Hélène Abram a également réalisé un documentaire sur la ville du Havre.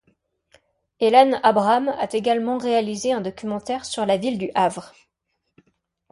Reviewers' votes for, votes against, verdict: 2, 1, accepted